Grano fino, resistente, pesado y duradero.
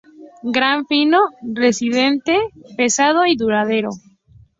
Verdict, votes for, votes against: rejected, 0, 2